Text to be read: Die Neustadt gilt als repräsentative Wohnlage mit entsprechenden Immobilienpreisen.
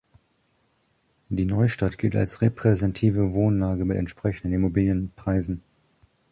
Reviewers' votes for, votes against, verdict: 0, 2, rejected